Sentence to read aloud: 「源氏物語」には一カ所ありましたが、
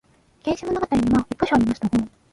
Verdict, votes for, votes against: rejected, 1, 2